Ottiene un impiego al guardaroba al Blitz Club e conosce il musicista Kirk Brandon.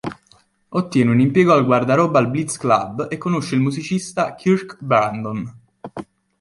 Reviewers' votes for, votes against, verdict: 2, 0, accepted